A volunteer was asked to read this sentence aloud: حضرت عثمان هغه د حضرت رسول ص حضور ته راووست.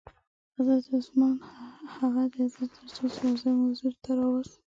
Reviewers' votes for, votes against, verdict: 1, 2, rejected